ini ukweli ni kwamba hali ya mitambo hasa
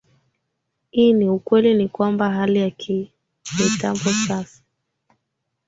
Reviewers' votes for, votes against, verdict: 0, 2, rejected